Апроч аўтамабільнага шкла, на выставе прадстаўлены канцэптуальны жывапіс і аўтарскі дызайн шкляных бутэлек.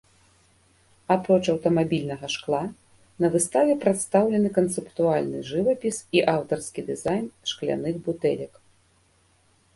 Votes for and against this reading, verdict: 1, 2, rejected